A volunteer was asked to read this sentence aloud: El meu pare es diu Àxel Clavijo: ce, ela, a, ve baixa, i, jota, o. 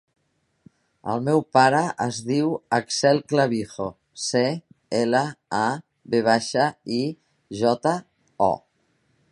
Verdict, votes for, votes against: rejected, 0, 2